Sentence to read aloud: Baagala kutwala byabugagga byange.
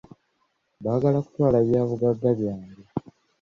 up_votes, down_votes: 2, 0